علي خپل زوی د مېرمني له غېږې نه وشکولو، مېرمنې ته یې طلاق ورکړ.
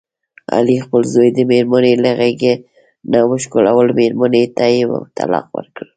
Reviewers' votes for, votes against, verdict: 2, 1, accepted